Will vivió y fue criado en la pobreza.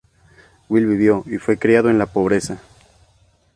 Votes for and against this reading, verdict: 2, 0, accepted